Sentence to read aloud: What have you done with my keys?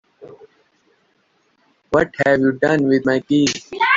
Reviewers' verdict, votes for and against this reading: rejected, 1, 2